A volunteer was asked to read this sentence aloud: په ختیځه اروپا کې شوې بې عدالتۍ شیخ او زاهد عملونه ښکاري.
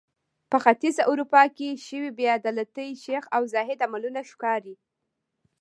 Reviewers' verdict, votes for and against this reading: accepted, 2, 1